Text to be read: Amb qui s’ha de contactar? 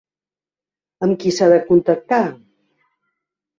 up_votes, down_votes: 4, 0